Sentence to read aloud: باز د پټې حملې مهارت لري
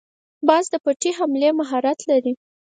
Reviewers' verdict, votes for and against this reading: accepted, 4, 0